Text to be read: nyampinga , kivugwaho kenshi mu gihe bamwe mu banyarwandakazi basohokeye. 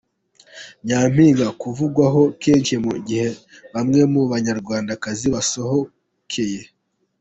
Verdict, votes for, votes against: rejected, 1, 2